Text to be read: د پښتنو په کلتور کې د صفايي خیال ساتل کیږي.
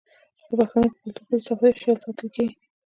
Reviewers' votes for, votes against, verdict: 1, 2, rejected